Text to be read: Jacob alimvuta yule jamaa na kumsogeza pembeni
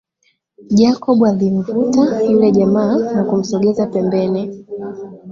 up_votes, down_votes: 0, 2